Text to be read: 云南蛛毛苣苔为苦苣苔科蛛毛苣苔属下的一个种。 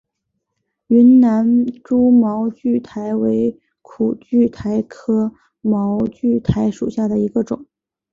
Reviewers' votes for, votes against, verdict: 2, 0, accepted